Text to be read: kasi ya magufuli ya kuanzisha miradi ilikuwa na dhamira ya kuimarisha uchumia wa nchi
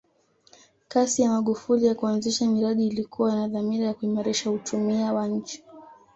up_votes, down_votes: 2, 0